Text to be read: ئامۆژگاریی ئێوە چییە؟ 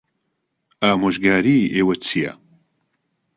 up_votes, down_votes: 2, 0